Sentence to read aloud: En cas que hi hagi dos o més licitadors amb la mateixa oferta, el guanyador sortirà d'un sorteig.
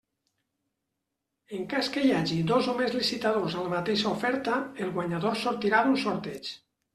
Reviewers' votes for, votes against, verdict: 2, 0, accepted